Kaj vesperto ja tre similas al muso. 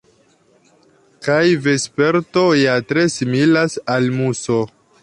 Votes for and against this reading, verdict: 2, 0, accepted